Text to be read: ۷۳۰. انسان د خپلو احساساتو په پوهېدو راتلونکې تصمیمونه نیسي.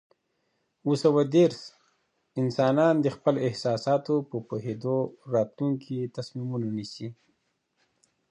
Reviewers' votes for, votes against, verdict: 0, 2, rejected